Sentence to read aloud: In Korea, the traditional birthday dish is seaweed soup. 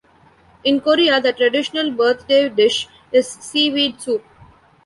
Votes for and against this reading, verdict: 2, 1, accepted